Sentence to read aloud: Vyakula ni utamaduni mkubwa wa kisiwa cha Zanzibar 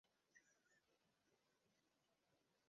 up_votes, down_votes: 0, 2